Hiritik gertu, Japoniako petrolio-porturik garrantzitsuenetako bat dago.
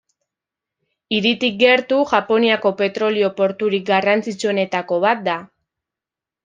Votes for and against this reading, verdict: 0, 2, rejected